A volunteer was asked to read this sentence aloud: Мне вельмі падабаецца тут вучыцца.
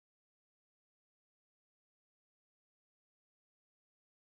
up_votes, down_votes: 0, 2